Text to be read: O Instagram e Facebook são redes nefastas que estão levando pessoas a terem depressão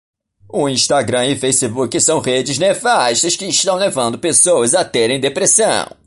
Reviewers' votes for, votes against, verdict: 1, 2, rejected